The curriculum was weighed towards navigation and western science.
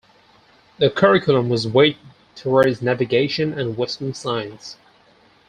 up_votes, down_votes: 4, 0